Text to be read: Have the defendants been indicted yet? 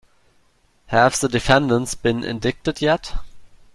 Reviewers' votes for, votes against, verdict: 1, 2, rejected